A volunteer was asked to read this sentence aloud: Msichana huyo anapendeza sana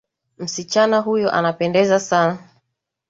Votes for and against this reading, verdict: 7, 1, accepted